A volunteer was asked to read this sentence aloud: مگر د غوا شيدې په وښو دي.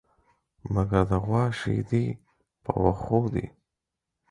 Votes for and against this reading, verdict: 4, 0, accepted